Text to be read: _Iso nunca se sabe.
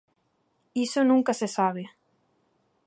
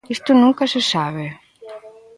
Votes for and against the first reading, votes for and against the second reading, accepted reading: 2, 0, 1, 2, first